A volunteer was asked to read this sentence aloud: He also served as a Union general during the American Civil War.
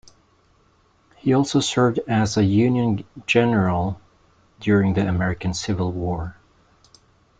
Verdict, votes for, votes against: accepted, 2, 0